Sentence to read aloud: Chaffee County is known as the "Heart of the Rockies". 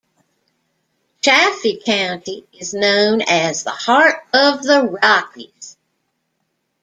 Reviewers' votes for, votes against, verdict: 2, 0, accepted